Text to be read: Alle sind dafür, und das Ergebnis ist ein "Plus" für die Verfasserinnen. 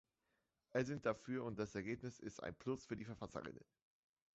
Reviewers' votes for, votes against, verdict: 0, 2, rejected